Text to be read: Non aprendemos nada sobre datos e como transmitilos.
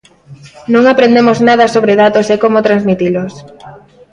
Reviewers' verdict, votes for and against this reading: rejected, 1, 2